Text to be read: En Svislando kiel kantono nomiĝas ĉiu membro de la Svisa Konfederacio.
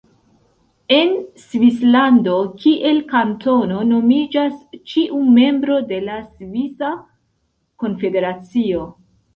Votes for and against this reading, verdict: 3, 1, accepted